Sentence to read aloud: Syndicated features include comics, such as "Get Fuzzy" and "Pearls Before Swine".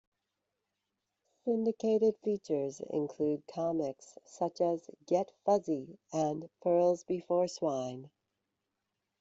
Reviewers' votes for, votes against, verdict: 2, 1, accepted